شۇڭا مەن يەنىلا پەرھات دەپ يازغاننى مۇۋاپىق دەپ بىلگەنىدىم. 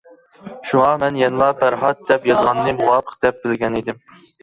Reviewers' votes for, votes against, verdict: 3, 0, accepted